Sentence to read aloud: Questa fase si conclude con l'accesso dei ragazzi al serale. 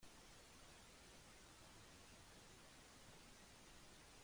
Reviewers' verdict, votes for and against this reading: rejected, 0, 3